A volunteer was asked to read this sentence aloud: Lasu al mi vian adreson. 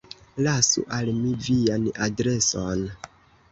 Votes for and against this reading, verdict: 1, 2, rejected